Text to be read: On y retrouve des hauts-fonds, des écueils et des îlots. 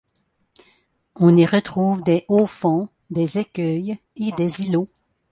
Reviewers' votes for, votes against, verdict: 2, 0, accepted